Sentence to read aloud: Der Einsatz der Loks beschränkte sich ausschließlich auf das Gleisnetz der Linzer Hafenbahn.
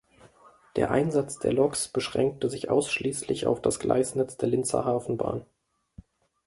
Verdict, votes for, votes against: accepted, 2, 0